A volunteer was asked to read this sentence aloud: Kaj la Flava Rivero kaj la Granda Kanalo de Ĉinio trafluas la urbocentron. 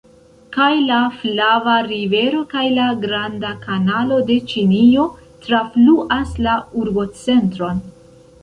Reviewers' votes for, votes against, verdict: 2, 0, accepted